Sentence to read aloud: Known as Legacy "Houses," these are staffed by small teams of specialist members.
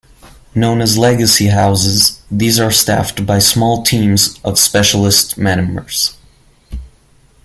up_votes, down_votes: 1, 2